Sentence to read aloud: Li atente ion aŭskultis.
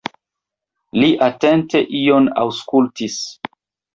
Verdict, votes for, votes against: accepted, 2, 0